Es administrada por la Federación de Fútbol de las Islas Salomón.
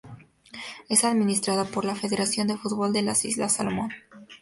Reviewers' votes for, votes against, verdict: 2, 0, accepted